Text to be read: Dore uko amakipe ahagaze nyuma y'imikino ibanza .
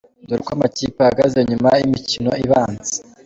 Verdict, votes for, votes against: accepted, 2, 0